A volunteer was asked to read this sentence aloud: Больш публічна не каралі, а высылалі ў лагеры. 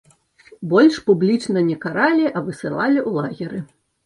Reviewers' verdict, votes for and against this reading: accepted, 2, 0